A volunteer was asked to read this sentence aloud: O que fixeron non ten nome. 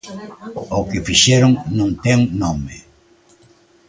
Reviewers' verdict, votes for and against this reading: accepted, 2, 1